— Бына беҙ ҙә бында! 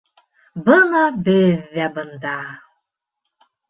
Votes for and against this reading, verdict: 2, 0, accepted